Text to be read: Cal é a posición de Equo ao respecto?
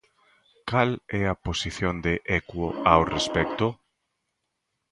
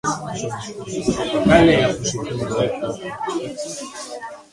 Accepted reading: first